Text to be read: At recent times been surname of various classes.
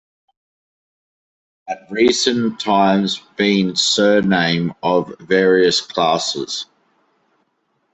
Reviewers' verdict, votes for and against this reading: accepted, 2, 0